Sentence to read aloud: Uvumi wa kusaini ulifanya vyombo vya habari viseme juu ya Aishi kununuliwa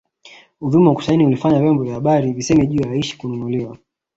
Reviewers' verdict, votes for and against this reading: accepted, 2, 0